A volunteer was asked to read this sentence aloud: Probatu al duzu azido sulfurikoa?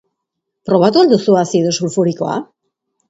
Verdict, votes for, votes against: accepted, 2, 0